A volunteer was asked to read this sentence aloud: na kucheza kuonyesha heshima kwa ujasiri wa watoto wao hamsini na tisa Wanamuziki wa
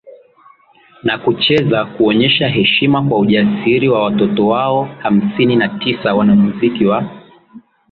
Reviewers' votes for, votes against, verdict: 2, 0, accepted